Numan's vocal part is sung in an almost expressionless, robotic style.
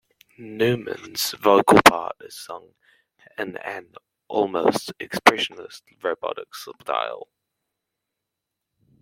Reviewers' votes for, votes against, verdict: 1, 2, rejected